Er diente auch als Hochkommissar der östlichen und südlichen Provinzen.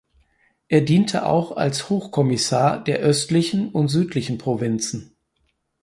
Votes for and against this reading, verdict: 4, 0, accepted